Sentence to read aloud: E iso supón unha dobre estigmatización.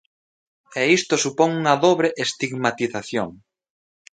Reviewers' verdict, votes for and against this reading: rejected, 0, 2